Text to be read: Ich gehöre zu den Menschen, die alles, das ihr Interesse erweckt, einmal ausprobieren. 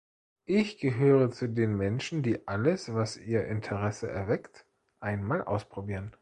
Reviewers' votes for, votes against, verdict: 0, 2, rejected